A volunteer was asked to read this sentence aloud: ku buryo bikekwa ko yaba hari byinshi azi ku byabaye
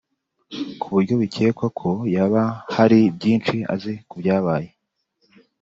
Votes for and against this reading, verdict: 2, 0, accepted